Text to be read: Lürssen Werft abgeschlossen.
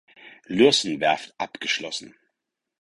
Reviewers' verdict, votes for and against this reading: accepted, 4, 0